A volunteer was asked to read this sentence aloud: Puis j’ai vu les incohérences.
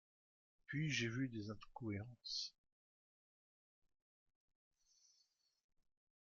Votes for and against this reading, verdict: 0, 2, rejected